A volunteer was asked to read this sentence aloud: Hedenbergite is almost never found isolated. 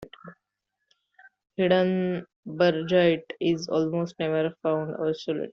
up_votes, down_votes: 2, 1